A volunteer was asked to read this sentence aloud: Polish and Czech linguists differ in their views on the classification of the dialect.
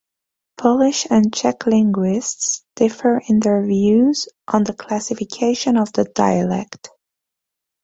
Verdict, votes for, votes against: accepted, 2, 0